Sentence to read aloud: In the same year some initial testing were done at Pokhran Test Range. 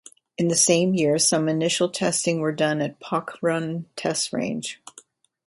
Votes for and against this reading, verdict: 2, 0, accepted